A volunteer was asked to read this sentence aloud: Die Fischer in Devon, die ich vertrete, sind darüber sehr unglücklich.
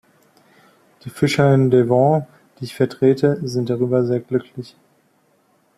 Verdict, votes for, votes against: rejected, 0, 2